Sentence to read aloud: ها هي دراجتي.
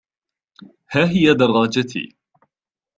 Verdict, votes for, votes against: accepted, 2, 1